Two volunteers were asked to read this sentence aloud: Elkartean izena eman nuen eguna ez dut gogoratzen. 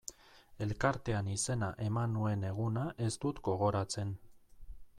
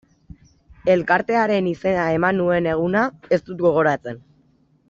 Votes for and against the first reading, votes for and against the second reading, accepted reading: 2, 0, 0, 2, first